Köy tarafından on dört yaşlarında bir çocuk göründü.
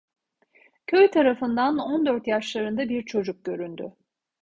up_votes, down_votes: 2, 0